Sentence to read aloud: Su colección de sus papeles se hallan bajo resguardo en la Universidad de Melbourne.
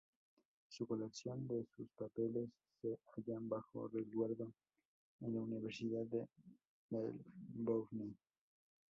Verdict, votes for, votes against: accepted, 2, 0